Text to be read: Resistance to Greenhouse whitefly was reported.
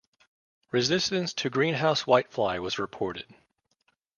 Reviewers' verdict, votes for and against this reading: accepted, 2, 0